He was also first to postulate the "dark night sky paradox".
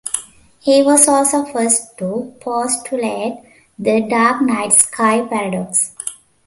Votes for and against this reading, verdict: 2, 0, accepted